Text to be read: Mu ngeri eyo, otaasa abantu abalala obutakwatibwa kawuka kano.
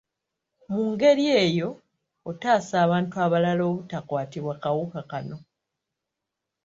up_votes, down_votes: 2, 0